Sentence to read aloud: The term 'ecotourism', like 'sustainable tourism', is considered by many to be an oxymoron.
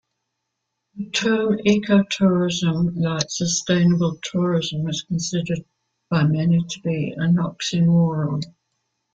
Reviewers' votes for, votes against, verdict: 2, 1, accepted